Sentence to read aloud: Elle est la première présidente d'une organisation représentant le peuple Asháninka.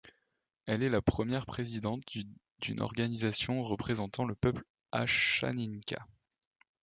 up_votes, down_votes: 1, 2